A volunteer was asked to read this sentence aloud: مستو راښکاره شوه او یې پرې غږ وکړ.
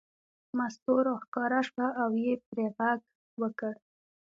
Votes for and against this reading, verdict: 1, 2, rejected